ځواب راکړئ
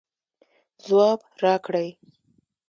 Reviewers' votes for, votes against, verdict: 2, 0, accepted